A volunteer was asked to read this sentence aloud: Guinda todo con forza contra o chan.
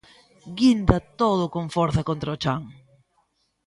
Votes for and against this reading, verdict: 2, 0, accepted